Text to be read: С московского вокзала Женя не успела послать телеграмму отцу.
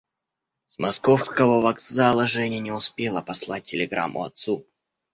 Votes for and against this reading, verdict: 2, 0, accepted